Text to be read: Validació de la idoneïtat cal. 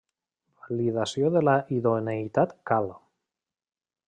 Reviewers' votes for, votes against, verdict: 1, 2, rejected